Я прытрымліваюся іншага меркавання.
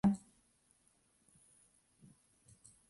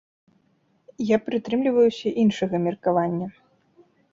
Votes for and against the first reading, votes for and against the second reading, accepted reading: 1, 2, 3, 0, second